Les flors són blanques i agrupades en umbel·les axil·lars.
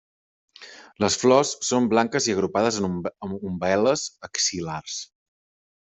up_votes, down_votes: 1, 2